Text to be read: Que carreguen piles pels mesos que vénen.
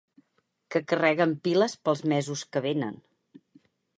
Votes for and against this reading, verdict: 6, 0, accepted